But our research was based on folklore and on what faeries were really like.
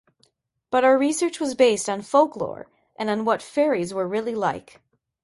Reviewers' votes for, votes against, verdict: 2, 0, accepted